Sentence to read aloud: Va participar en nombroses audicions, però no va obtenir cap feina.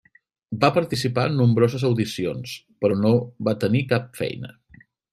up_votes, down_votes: 0, 2